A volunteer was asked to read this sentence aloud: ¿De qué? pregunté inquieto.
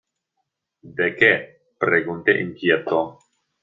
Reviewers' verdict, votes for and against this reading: accepted, 2, 0